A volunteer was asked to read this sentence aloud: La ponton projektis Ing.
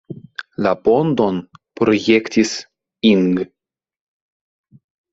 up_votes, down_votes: 2, 1